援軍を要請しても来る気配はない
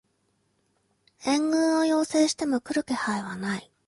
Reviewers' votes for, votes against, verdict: 2, 0, accepted